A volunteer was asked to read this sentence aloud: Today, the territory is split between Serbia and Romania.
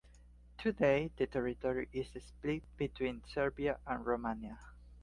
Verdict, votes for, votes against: accepted, 2, 0